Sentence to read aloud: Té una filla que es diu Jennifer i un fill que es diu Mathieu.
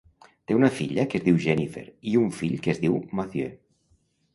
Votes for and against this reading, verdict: 2, 0, accepted